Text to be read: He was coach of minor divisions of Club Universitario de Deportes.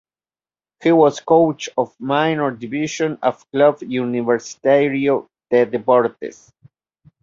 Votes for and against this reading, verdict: 2, 0, accepted